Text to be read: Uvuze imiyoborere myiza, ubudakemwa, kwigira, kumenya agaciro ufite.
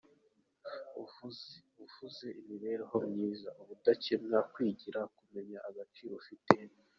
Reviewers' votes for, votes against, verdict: 0, 2, rejected